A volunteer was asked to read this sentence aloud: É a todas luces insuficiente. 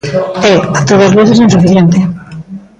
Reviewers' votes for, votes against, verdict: 0, 2, rejected